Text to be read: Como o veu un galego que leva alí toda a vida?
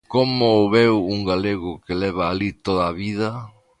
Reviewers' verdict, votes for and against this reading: accepted, 2, 0